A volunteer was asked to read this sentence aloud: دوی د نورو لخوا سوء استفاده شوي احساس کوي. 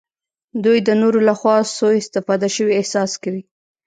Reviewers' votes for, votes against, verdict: 2, 0, accepted